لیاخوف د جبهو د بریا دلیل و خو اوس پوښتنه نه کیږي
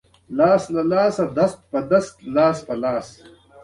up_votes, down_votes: 1, 2